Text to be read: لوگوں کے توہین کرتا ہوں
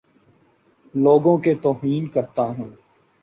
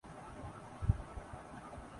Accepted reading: first